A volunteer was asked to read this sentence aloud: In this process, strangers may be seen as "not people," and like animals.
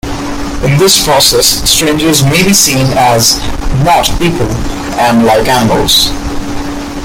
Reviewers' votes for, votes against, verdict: 2, 1, accepted